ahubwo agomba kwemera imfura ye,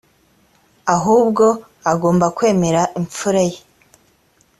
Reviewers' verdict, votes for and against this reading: accepted, 2, 0